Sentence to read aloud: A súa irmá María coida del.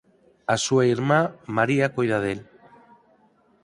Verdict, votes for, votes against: accepted, 4, 0